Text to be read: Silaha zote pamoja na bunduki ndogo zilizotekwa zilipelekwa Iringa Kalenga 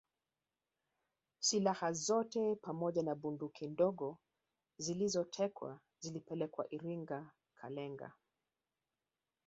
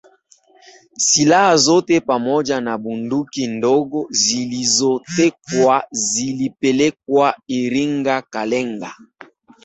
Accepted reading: second